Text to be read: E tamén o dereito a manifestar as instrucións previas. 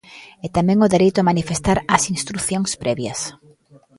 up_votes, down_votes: 2, 0